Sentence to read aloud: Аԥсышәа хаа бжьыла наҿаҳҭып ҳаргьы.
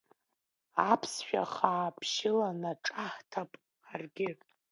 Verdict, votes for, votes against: accepted, 2, 1